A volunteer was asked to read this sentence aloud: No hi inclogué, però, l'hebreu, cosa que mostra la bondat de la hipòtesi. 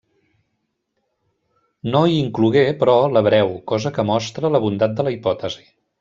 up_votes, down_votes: 2, 0